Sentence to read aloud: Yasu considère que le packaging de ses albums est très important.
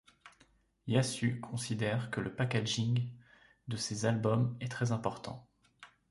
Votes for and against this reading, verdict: 2, 0, accepted